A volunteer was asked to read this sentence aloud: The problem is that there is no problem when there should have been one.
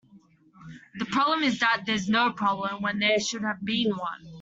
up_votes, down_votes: 1, 2